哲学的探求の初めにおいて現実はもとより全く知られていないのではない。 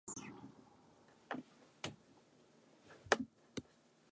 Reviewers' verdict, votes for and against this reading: rejected, 2, 3